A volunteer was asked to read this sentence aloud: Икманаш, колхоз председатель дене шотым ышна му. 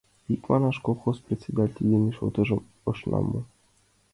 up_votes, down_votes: 0, 2